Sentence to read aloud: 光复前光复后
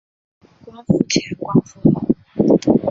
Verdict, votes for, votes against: rejected, 0, 2